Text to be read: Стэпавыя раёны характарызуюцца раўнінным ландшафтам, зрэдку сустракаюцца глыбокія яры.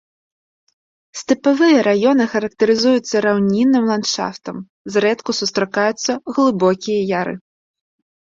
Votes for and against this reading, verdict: 1, 2, rejected